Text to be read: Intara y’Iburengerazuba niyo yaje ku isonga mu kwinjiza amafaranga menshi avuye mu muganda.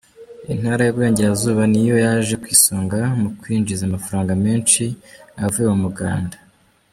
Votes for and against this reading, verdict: 2, 1, accepted